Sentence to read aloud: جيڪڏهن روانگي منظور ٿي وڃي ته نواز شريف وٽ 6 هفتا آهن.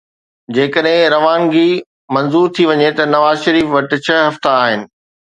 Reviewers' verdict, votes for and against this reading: rejected, 0, 2